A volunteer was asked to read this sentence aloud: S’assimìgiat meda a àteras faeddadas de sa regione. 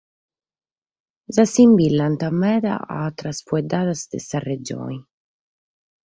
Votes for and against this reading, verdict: 2, 4, rejected